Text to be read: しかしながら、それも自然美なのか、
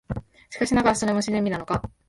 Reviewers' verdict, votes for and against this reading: rejected, 1, 2